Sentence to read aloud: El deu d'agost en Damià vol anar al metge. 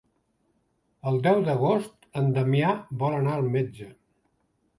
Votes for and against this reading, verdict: 3, 0, accepted